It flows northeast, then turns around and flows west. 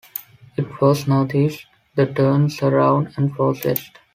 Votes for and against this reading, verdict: 2, 0, accepted